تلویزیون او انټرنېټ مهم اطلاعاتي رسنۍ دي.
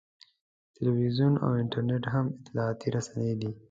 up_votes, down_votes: 2, 0